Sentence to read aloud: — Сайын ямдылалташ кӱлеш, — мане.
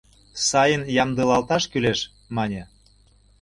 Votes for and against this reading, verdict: 2, 0, accepted